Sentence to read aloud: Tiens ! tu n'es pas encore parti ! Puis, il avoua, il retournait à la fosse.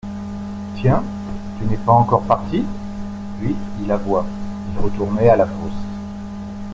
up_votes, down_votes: 2, 0